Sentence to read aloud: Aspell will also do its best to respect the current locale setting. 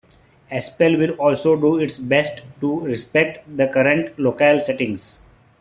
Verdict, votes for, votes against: accepted, 2, 1